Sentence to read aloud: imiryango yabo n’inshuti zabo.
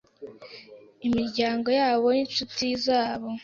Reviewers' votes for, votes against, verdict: 0, 2, rejected